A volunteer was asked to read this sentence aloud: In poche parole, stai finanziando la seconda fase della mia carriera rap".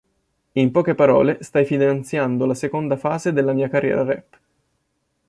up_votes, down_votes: 2, 0